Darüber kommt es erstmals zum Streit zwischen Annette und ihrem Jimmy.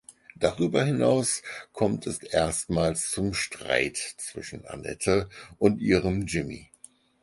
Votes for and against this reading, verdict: 2, 4, rejected